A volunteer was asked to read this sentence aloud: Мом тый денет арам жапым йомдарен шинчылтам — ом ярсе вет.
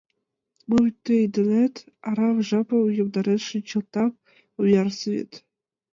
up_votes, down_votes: 2, 0